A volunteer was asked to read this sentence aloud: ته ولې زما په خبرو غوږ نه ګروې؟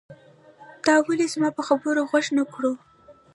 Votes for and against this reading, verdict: 0, 2, rejected